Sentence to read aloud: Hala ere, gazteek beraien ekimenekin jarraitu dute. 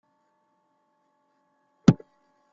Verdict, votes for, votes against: rejected, 0, 2